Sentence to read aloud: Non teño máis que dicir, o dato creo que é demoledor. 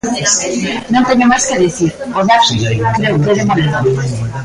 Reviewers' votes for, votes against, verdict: 0, 3, rejected